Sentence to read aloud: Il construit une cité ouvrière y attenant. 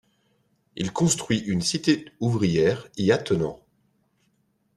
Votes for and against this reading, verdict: 1, 2, rejected